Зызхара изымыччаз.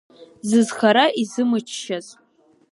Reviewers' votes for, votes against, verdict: 4, 0, accepted